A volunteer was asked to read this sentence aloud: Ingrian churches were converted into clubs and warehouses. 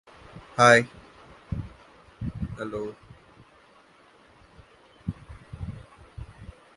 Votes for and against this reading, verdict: 0, 2, rejected